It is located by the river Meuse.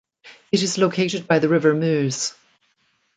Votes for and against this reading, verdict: 1, 2, rejected